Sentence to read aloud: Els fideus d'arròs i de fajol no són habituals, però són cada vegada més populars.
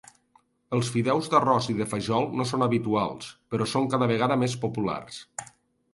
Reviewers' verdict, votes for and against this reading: accepted, 2, 0